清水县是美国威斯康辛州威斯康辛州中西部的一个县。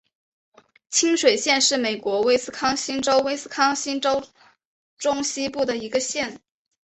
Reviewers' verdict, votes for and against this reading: accepted, 2, 1